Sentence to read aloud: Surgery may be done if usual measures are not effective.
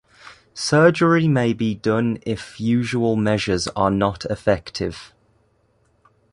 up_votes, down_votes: 2, 0